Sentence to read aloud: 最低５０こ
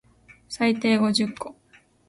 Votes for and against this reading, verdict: 0, 2, rejected